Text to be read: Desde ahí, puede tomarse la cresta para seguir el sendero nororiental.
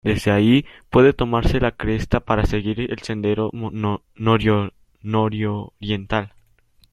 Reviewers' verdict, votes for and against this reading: rejected, 0, 2